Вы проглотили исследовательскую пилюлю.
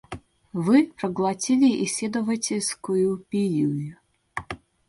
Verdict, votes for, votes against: rejected, 1, 2